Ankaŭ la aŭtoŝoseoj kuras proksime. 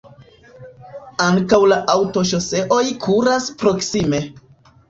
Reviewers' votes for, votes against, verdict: 1, 2, rejected